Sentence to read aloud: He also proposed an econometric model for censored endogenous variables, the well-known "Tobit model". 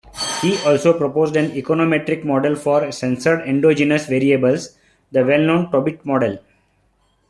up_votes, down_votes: 2, 1